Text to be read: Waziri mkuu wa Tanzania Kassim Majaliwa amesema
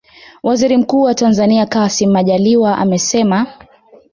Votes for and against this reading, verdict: 2, 0, accepted